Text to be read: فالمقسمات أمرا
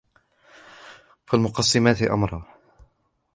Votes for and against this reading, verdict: 2, 0, accepted